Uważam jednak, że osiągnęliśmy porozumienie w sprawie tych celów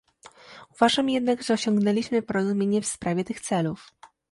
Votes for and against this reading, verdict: 2, 0, accepted